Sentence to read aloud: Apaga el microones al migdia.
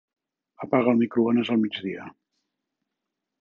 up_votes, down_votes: 3, 0